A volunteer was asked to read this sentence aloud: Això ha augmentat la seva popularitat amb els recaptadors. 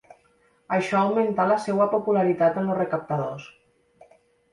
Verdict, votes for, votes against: accepted, 2, 0